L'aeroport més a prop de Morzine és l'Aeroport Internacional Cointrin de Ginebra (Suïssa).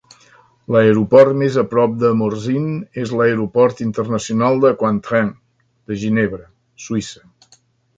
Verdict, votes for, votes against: rejected, 1, 2